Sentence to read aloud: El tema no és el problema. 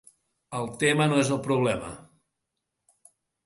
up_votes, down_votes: 3, 0